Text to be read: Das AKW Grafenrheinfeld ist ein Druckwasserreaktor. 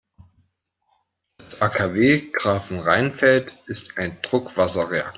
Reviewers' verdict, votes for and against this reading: rejected, 1, 2